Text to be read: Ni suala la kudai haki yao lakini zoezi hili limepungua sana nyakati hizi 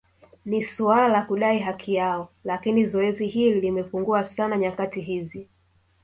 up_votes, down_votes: 1, 2